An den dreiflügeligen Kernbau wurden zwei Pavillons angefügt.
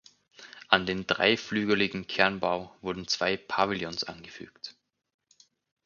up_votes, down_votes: 4, 0